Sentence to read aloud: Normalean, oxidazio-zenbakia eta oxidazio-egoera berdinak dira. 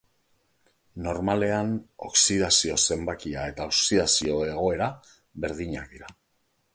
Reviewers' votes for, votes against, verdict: 2, 0, accepted